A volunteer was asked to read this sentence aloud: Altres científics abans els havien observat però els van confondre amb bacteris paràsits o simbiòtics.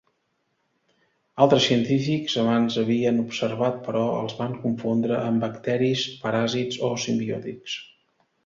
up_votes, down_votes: 1, 2